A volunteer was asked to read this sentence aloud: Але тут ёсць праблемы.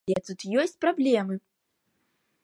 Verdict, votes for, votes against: rejected, 1, 2